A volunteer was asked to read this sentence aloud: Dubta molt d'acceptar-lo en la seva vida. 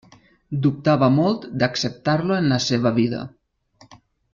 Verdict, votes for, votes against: rejected, 0, 2